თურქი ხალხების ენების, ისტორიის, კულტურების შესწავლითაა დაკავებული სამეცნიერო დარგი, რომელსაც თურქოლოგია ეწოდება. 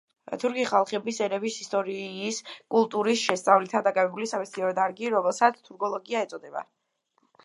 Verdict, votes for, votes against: accepted, 2, 1